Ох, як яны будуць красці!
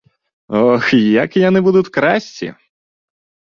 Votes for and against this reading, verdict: 0, 2, rejected